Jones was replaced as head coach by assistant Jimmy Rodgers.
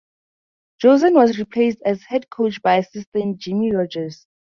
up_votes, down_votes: 0, 2